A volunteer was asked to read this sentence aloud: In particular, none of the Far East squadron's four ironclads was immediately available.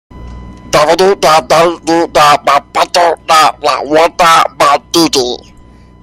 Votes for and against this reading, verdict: 0, 2, rejected